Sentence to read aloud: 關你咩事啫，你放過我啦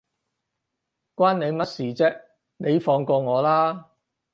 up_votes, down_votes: 0, 4